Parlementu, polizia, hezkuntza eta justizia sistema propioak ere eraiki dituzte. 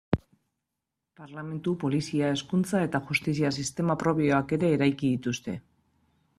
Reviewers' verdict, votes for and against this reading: accepted, 2, 1